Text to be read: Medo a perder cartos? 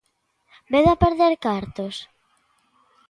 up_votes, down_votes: 2, 0